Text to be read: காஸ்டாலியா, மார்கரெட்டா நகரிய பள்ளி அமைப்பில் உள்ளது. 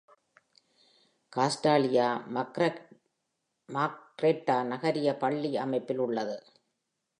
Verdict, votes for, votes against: rejected, 0, 2